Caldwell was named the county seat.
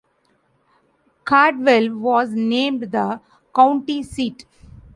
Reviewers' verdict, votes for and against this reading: accepted, 2, 0